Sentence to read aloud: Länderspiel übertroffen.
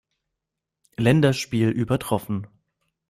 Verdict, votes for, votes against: accepted, 2, 0